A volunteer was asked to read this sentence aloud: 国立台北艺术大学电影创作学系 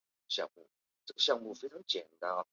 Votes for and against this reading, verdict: 0, 2, rejected